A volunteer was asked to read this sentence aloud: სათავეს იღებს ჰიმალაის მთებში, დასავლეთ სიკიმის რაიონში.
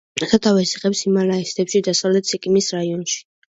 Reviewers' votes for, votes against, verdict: 2, 0, accepted